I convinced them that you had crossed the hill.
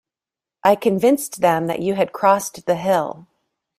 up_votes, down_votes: 2, 0